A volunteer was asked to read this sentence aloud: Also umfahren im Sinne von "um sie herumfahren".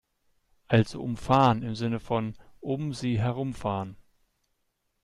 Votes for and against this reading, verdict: 2, 0, accepted